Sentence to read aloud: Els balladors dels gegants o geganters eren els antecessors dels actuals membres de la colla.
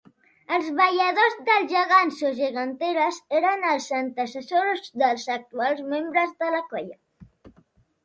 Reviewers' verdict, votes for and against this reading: rejected, 0, 2